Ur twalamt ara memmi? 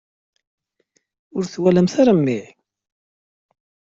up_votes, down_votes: 2, 0